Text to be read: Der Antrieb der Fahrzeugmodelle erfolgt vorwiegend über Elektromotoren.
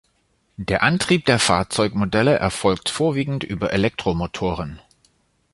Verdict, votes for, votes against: accepted, 2, 0